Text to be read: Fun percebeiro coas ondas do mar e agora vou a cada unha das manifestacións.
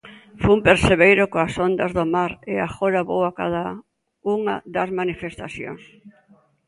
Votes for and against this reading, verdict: 2, 0, accepted